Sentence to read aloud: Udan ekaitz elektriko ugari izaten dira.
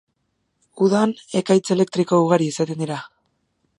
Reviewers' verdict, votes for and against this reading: accepted, 2, 0